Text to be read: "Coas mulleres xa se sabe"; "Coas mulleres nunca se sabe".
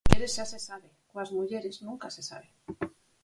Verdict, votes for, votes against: rejected, 0, 4